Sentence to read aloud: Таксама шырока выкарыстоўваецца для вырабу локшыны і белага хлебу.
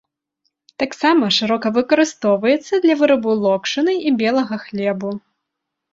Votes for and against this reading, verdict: 2, 0, accepted